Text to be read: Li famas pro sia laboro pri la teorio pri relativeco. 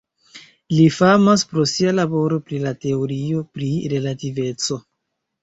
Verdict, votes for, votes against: rejected, 1, 2